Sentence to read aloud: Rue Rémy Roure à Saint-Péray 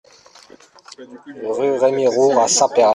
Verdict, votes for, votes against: rejected, 0, 2